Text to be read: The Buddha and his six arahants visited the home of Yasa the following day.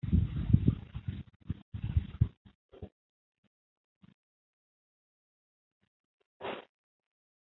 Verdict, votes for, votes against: rejected, 0, 4